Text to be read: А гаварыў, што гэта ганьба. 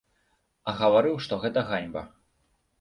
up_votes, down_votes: 2, 0